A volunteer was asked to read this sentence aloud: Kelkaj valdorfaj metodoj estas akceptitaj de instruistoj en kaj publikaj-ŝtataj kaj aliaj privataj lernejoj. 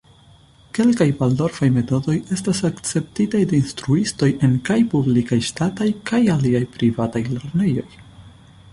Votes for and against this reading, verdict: 2, 0, accepted